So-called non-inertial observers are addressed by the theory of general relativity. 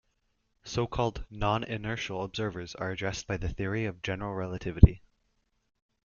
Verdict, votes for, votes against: accepted, 2, 0